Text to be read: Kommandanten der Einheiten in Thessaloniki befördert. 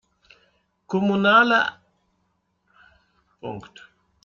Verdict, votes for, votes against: rejected, 0, 2